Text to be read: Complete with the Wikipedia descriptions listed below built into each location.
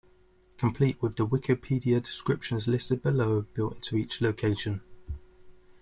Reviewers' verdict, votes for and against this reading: rejected, 1, 2